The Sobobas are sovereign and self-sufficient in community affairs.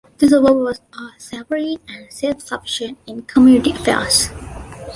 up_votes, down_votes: 1, 2